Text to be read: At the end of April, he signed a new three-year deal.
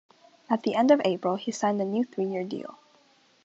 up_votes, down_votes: 2, 0